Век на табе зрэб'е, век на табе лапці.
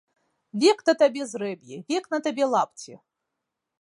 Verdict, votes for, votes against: rejected, 2, 3